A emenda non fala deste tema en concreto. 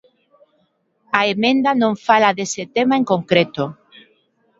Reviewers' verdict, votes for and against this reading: rejected, 1, 2